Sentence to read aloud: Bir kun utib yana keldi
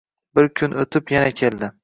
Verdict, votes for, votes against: accepted, 2, 0